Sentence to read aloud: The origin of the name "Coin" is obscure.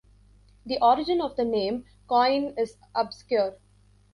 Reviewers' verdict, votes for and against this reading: rejected, 1, 2